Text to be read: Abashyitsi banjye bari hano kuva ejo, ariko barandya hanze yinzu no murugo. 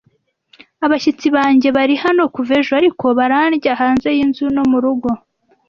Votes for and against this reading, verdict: 2, 0, accepted